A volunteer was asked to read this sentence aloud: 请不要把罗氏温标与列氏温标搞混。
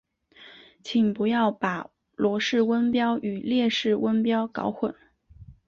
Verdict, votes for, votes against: accepted, 2, 0